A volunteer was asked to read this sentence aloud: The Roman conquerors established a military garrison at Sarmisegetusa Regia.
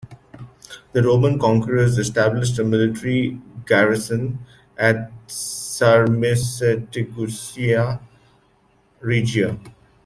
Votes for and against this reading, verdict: 2, 0, accepted